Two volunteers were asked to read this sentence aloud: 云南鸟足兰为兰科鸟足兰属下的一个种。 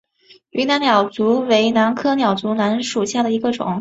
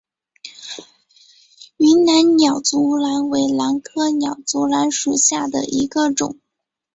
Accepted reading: second